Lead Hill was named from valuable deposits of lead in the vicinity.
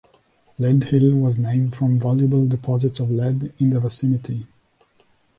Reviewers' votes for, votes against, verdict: 2, 0, accepted